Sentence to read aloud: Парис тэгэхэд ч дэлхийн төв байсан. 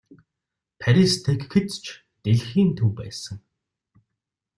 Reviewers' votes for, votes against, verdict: 2, 0, accepted